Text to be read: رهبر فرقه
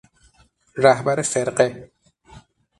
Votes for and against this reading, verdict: 6, 0, accepted